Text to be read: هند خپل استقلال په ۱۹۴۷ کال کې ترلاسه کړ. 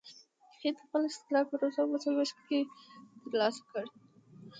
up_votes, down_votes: 0, 2